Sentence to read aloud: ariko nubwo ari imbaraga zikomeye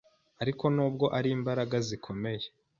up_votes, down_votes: 2, 0